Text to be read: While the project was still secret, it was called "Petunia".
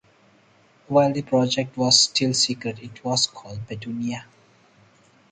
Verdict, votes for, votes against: accepted, 4, 0